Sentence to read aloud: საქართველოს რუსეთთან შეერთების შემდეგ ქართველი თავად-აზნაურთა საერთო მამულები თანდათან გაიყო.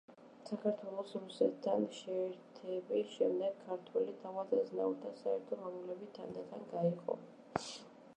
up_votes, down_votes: 1, 2